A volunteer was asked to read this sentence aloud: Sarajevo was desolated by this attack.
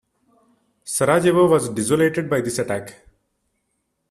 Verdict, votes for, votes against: rejected, 1, 2